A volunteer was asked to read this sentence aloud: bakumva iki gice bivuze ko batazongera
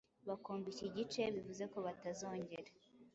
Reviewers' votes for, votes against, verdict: 2, 0, accepted